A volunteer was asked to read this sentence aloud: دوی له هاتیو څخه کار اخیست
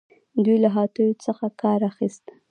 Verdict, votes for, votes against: rejected, 1, 2